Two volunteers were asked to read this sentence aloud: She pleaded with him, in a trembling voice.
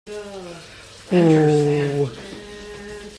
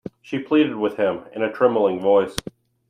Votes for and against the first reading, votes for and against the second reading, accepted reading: 0, 2, 2, 1, second